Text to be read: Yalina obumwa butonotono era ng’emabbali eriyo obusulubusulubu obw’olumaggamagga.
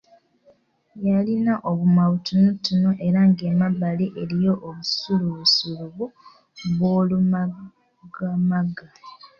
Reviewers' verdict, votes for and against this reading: accepted, 2, 1